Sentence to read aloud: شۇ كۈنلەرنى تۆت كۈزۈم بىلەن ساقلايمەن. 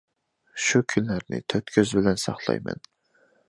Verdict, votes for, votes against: rejected, 0, 2